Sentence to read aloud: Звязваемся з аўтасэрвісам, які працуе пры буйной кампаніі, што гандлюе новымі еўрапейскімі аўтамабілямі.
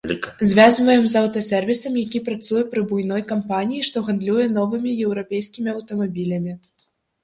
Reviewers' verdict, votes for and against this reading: rejected, 0, 2